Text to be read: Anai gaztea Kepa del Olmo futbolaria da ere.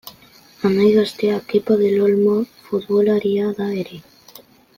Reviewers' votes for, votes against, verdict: 2, 0, accepted